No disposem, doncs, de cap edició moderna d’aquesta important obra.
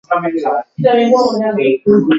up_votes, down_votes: 0, 2